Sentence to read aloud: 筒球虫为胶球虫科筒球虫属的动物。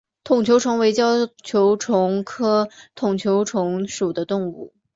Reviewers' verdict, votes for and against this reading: accepted, 7, 1